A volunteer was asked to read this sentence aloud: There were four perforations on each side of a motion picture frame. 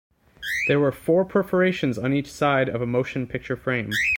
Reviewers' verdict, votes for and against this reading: accepted, 2, 0